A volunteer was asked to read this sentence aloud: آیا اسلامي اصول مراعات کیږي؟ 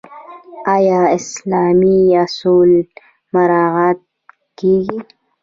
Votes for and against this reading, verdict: 1, 2, rejected